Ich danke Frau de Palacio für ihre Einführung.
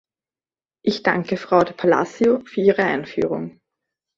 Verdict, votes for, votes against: accepted, 2, 0